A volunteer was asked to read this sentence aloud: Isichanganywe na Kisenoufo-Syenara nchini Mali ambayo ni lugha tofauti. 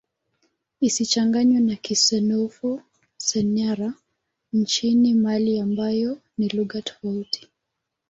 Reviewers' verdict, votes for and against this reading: accepted, 2, 0